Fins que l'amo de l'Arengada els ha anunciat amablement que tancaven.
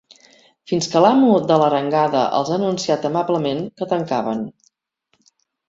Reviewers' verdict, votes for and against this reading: accepted, 3, 0